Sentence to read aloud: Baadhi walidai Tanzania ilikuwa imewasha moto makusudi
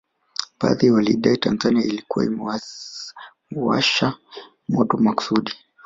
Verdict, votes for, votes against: accepted, 2, 1